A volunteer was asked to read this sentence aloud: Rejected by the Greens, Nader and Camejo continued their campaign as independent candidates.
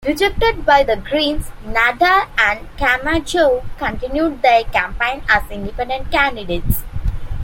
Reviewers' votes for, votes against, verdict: 2, 0, accepted